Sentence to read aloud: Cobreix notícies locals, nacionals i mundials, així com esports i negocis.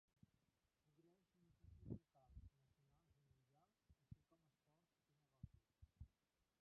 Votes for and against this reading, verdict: 0, 2, rejected